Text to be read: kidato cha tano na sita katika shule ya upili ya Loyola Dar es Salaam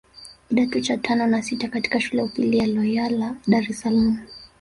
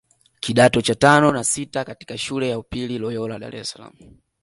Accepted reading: second